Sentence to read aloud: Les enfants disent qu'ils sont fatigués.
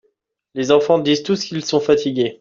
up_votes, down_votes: 0, 2